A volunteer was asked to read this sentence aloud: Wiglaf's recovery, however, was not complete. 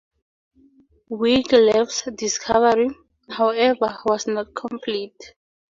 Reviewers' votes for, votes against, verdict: 0, 2, rejected